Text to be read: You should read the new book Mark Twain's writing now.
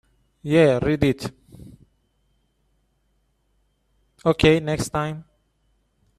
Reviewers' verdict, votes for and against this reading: rejected, 0, 2